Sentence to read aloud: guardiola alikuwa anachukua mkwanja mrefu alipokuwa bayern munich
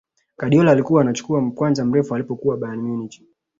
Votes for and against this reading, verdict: 2, 0, accepted